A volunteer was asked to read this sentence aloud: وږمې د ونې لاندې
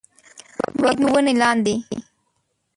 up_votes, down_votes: 0, 2